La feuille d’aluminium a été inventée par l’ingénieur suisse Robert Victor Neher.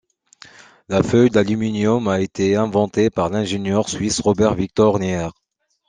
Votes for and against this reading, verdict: 2, 0, accepted